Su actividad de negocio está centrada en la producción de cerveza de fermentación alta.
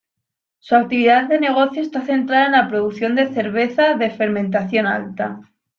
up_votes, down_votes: 2, 0